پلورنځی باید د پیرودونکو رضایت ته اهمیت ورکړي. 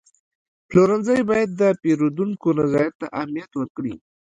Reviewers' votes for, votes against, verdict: 1, 2, rejected